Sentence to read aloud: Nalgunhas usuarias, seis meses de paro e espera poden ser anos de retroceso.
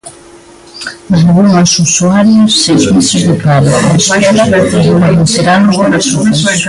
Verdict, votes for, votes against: rejected, 0, 2